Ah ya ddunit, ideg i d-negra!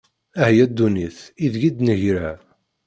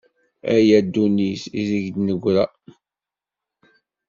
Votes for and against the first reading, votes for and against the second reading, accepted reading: 0, 2, 2, 0, second